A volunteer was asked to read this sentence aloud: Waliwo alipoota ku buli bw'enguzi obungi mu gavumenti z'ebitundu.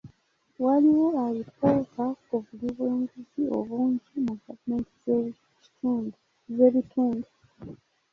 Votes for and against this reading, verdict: 2, 3, rejected